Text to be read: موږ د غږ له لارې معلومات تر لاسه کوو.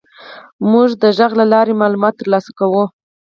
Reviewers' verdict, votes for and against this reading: accepted, 4, 2